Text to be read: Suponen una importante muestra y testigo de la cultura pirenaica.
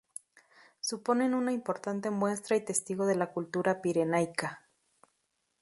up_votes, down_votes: 0, 2